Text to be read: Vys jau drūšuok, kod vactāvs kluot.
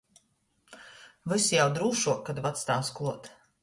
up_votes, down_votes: 2, 0